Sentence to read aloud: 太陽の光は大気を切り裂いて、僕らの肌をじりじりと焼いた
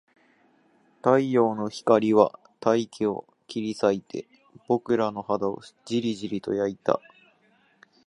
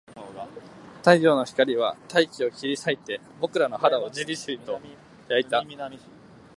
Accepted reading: second